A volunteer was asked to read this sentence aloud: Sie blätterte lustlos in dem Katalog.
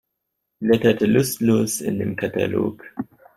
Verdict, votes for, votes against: rejected, 1, 2